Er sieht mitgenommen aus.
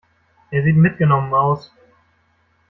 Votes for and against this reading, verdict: 2, 0, accepted